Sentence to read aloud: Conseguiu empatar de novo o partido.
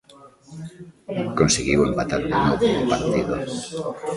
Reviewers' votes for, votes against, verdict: 0, 2, rejected